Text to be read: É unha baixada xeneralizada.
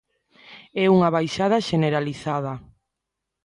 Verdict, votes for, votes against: accepted, 2, 0